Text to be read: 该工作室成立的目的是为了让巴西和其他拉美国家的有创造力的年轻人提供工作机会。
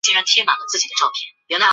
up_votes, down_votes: 3, 4